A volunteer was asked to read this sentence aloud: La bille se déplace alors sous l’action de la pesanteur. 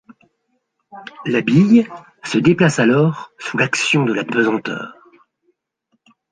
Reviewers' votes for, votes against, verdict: 2, 0, accepted